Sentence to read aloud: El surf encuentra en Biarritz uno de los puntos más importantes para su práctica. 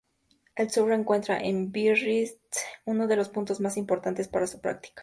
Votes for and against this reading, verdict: 2, 0, accepted